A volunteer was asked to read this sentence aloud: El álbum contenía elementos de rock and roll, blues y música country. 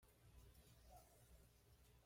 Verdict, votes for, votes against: rejected, 1, 2